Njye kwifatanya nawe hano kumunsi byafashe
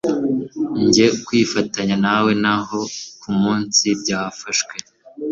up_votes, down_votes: 1, 2